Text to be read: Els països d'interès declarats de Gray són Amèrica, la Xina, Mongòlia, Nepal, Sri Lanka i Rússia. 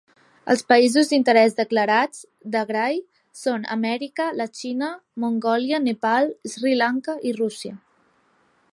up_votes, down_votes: 1, 2